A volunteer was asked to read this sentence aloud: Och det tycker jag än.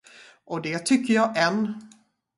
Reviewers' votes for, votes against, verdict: 0, 2, rejected